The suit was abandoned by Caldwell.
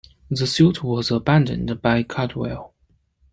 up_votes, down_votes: 2, 0